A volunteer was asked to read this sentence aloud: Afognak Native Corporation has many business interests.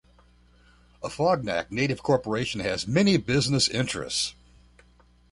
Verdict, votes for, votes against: accepted, 2, 0